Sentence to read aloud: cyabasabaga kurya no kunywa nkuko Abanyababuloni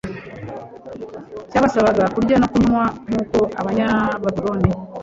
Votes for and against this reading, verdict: 1, 2, rejected